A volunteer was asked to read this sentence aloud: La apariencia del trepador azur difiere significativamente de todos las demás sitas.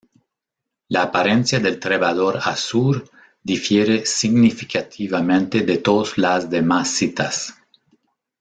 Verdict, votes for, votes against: rejected, 0, 2